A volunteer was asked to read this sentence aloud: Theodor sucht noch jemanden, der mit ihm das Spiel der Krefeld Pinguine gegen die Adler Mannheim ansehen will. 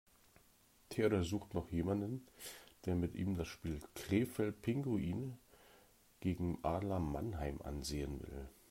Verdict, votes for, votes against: rejected, 1, 2